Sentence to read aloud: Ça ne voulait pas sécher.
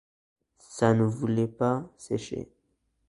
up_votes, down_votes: 2, 0